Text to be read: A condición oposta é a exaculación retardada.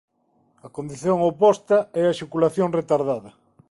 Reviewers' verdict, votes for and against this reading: accepted, 2, 0